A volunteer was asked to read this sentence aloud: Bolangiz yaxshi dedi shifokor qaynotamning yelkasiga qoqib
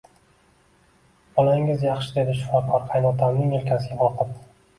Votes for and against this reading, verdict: 2, 1, accepted